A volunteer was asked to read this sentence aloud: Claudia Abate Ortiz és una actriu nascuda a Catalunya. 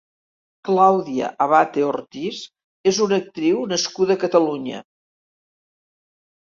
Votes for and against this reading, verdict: 3, 0, accepted